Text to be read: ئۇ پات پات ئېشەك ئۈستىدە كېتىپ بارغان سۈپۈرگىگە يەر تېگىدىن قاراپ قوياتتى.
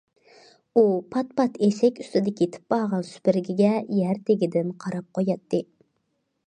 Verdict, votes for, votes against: rejected, 1, 2